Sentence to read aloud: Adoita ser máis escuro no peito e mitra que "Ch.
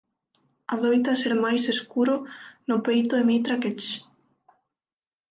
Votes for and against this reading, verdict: 6, 0, accepted